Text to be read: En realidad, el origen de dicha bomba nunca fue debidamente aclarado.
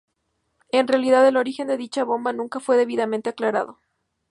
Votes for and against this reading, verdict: 2, 0, accepted